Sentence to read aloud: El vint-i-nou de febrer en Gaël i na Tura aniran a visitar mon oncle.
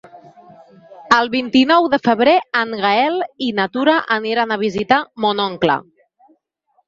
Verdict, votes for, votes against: accepted, 3, 0